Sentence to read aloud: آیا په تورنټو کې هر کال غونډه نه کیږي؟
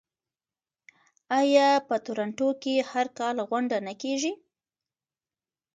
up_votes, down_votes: 0, 2